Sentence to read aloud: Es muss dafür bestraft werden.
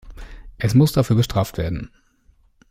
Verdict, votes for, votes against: accepted, 2, 0